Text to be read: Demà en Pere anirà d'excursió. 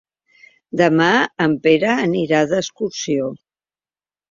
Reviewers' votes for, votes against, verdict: 3, 0, accepted